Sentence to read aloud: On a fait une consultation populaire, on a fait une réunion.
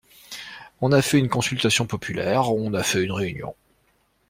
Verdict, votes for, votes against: accepted, 2, 0